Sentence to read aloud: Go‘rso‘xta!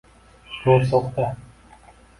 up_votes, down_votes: 1, 2